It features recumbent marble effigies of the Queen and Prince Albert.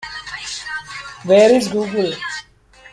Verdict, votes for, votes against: rejected, 0, 2